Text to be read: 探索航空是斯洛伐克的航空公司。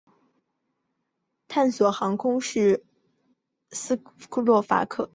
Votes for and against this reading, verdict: 0, 2, rejected